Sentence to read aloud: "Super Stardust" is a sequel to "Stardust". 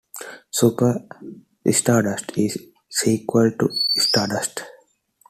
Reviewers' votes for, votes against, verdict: 1, 2, rejected